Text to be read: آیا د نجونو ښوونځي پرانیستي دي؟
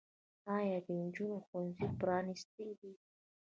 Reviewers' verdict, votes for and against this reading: rejected, 1, 2